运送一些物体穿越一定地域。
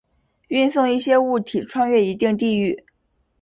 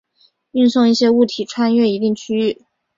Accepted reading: first